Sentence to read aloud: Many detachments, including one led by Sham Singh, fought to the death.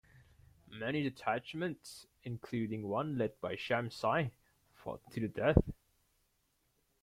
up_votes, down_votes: 0, 2